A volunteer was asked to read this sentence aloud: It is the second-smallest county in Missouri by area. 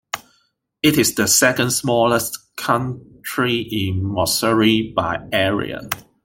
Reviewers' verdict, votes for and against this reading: rejected, 0, 3